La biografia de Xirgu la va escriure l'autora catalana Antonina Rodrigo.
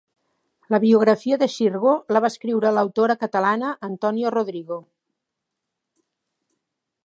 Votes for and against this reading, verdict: 0, 2, rejected